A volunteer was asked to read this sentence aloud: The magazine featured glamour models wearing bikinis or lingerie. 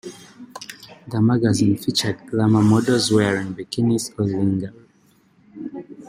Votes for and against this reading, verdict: 0, 2, rejected